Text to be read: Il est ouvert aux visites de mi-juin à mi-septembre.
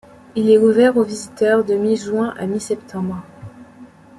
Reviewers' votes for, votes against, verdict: 1, 2, rejected